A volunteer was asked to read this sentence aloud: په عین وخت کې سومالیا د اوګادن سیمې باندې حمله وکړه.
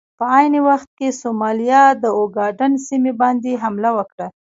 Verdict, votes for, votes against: rejected, 1, 2